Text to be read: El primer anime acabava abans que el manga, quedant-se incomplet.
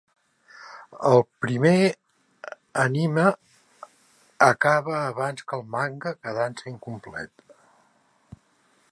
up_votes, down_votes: 1, 2